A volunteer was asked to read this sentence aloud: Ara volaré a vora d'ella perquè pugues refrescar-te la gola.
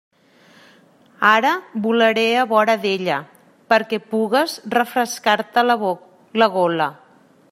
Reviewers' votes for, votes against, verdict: 1, 2, rejected